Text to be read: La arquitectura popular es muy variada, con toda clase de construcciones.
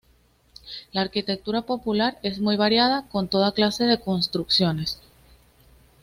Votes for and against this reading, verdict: 2, 1, accepted